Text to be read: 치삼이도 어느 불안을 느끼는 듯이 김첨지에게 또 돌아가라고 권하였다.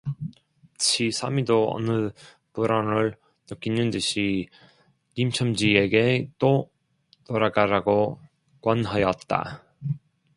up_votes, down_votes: 0, 2